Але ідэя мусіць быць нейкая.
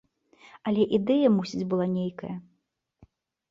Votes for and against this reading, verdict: 0, 2, rejected